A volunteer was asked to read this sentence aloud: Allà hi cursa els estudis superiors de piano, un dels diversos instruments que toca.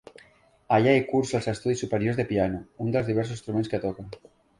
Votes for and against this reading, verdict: 2, 0, accepted